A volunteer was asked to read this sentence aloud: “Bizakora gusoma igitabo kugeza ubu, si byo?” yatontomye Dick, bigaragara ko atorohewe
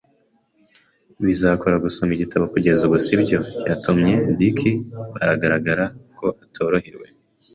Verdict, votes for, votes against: rejected, 1, 2